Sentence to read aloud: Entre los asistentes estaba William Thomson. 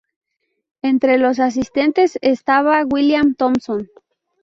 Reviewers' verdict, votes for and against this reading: rejected, 0, 2